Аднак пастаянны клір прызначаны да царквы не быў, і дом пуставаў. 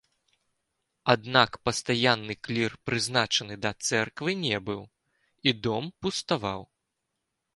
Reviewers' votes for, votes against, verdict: 0, 2, rejected